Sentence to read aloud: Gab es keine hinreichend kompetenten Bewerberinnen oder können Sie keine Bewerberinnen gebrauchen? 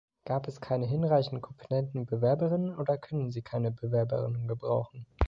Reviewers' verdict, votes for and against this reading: rejected, 1, 2